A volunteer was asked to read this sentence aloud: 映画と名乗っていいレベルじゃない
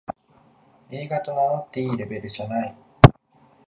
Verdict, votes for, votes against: accepted, 2, 0